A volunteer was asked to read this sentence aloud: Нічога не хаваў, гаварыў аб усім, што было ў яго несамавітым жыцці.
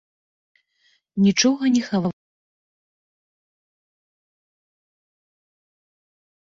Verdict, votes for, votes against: rejected, 0, 2